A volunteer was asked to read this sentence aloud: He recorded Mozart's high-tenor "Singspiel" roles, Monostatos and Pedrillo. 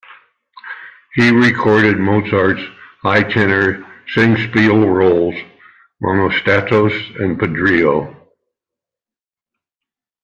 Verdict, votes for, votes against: accepted, 2, 0